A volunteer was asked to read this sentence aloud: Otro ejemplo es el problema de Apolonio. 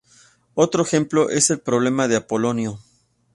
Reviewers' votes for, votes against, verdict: 2, 0, accepted